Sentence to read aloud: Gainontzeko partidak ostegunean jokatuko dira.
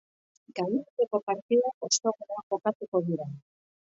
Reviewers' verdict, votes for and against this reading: rejected, 0, 2